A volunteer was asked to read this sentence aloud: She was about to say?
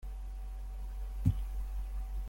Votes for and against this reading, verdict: 0, 2, rejected